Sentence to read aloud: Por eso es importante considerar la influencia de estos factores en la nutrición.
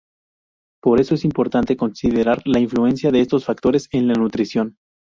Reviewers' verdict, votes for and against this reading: accepted, 2, 0